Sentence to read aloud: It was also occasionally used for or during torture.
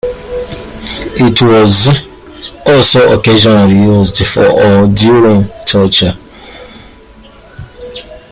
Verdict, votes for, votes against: accepted, 3, 1